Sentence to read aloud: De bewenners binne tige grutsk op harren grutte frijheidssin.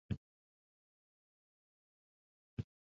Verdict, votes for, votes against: rejected, 0, 2